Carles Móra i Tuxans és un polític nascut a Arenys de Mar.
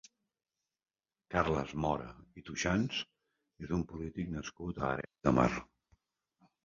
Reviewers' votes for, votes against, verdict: 1, 2, rejected